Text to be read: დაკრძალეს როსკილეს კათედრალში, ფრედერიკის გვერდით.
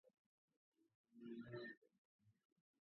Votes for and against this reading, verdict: 0, 2, rejected